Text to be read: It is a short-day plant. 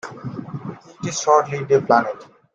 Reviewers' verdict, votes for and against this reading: rejected, 1, 2